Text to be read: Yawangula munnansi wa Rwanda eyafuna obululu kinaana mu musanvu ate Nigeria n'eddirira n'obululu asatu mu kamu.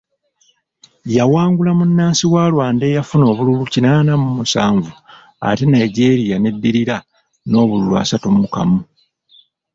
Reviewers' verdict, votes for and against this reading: accepted, 2, 0